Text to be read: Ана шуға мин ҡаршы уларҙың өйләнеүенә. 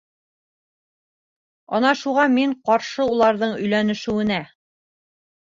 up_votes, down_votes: 0, 2